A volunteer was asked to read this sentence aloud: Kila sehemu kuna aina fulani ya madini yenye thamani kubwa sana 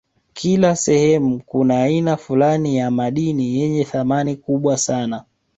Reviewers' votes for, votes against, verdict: 3, 0, accepted